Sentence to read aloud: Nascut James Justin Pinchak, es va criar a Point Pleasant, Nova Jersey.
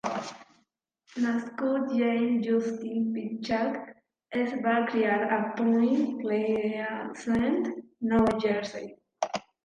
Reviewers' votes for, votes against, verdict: 0, 2, rejected